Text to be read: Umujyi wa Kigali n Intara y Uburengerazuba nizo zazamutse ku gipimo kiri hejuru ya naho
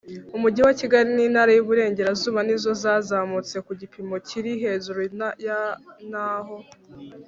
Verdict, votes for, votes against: rejected, 1, 2